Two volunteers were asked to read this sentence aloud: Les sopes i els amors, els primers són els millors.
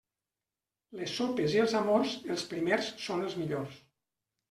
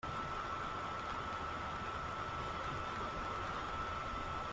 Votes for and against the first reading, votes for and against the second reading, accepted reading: 3, 0, 0, 2, first